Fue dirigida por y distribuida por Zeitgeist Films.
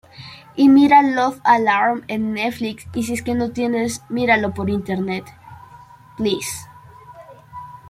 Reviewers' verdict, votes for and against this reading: rejected, 0, 2